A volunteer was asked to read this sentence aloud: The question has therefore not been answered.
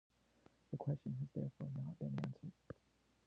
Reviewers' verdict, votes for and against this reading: rejected, 1, 2